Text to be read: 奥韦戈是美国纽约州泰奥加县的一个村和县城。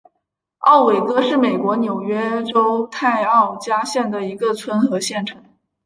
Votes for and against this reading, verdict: 2, 0, accepted